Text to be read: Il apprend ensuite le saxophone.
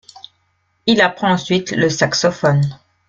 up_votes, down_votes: 2, 0